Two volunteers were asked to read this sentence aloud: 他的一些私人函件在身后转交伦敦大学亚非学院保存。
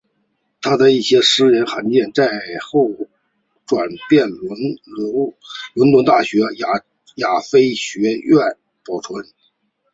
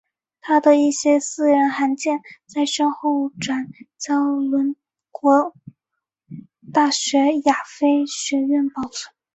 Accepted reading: first